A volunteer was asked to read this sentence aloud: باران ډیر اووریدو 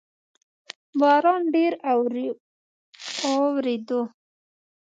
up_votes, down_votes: 0, 2